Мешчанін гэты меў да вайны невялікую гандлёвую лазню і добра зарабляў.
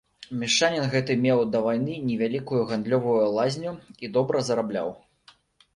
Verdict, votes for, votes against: rejected, 1, 2